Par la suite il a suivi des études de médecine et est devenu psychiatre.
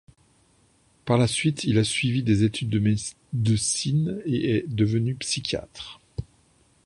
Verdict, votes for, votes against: rejected, 1, 2